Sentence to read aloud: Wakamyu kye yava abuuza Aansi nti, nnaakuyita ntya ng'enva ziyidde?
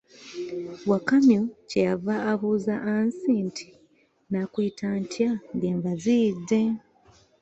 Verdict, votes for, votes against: accepted, 2, 0